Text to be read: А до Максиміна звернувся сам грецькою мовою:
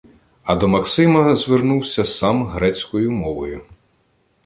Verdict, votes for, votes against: rejected, 1, 2